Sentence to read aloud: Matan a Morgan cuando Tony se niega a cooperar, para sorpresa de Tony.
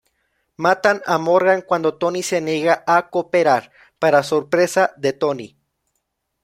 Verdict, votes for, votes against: accepted, 2, 0